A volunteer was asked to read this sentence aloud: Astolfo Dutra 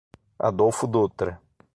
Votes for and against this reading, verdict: 0, 6, rejected